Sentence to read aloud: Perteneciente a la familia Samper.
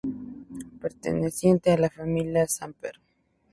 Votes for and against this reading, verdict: 2, 0, accepted